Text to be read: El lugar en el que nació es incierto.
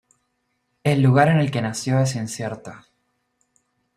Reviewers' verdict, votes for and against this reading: rejected, 0, 2